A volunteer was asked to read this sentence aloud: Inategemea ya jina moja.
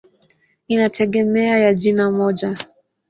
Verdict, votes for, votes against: accepted, 21, 4